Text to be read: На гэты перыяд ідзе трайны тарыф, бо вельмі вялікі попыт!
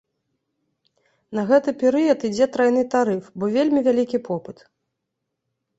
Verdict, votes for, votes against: accepted, 2, 0